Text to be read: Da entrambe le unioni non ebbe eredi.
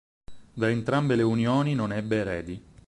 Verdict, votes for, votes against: accepted, 4, 2